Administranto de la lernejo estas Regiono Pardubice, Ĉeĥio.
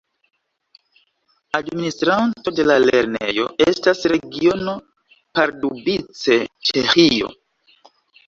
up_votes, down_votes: 2, 1